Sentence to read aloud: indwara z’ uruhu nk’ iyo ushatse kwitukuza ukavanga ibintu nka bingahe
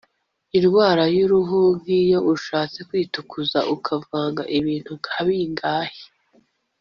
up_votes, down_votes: 2, 3